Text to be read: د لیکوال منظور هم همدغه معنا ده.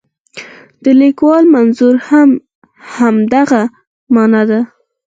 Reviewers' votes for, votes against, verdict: 0, 4, rejected